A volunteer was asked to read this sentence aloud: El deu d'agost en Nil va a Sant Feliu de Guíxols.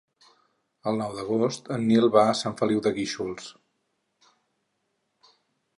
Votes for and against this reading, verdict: 2, 4, rejected